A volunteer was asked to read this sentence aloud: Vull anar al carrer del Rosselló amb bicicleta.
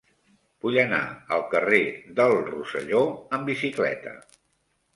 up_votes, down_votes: 3, 0